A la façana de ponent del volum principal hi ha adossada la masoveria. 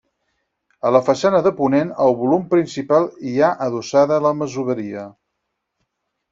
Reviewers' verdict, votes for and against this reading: rejected, 0, 4